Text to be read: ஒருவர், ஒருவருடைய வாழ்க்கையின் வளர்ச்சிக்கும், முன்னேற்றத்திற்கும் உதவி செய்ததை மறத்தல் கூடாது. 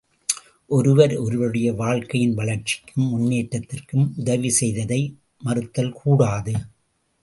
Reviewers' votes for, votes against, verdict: 0, 2, rejected